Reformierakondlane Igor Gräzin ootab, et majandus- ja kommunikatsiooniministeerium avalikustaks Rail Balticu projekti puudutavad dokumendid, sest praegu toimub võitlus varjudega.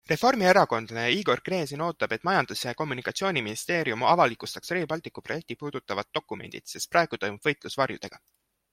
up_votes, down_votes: 2, 0